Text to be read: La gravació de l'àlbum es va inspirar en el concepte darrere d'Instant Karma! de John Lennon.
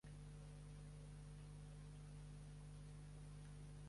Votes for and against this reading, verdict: 0, 2, rejected